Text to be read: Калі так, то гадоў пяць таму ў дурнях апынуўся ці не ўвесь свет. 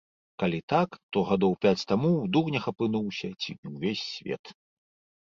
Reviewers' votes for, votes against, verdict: 1, 2, rejected